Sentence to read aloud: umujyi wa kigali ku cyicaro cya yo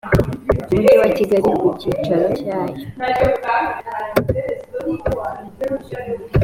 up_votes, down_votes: 3, 1